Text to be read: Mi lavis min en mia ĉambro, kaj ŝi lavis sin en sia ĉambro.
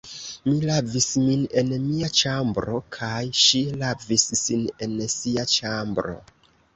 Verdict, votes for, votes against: accepted, 2, 0